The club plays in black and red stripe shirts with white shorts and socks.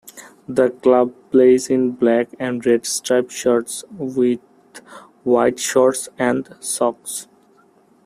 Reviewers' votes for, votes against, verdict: 2, 0, accepted